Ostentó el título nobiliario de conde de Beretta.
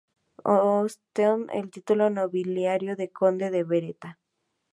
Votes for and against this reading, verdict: 0, 2, rejected